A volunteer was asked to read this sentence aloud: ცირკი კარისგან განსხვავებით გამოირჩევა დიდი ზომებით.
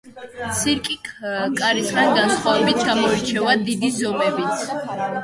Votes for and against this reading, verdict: 1, 2, rejected